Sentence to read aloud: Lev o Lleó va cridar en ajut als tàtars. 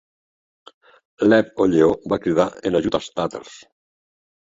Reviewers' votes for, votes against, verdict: 1, 2, rejected